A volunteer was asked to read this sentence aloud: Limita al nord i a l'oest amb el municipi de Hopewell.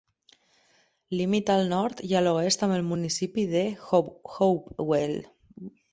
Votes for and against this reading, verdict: 0, 2, rejected